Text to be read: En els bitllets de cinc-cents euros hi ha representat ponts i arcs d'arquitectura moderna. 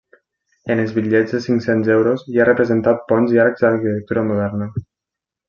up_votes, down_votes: 1, 2